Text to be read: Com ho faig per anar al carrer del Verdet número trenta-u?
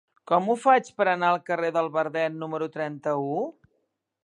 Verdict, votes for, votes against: accepted, 3, 0